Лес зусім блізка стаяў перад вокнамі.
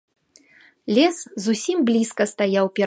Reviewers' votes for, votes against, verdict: 0, 2, rejected